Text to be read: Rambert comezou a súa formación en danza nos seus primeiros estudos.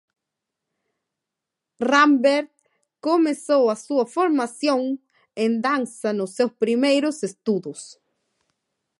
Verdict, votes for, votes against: accepted, 2, 0